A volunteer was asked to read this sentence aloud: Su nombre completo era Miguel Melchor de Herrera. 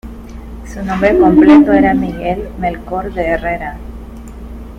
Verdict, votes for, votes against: rejected, 0, 2